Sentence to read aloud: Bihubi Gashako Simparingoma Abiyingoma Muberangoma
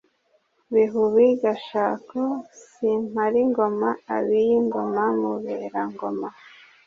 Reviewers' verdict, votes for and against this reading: accepted, 2, 0